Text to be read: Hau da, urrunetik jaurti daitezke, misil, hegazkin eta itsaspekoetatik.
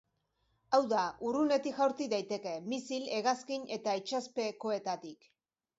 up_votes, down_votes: 1, 2